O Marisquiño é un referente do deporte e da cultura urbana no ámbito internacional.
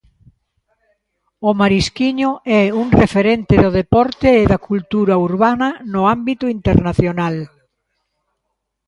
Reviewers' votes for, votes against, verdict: 2, 0, accepted